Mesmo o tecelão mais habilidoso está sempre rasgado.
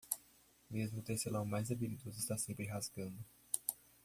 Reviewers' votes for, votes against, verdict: 0, 2, rejected